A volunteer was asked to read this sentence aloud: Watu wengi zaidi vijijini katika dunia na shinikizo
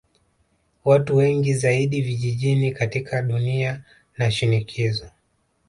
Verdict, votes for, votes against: accepted, 2, 0